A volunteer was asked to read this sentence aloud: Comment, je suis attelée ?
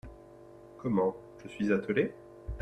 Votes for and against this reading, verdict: 2, 0, accepted